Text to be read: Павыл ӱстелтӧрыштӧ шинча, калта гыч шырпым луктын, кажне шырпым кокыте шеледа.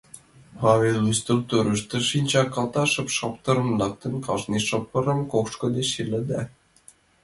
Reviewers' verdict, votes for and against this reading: rejected, 0, 2